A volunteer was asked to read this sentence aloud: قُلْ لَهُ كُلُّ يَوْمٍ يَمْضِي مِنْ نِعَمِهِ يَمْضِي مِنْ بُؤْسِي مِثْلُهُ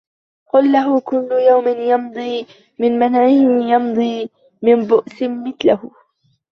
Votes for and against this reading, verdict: 0, 2, rejected